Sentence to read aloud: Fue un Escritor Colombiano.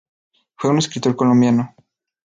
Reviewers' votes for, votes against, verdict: 2, 0, accepted